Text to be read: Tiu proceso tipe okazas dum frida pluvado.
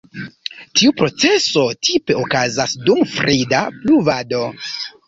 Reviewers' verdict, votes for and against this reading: rejected, 0, 2